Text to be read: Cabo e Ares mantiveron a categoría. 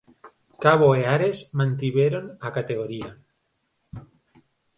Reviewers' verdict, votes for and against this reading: accepted, 4, 0